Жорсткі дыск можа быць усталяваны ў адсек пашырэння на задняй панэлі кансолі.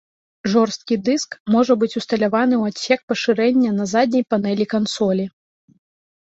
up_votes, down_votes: 2, 0